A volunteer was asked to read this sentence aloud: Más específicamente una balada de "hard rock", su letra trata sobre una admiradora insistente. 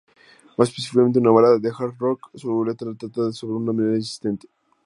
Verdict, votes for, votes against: accepted, 2, 0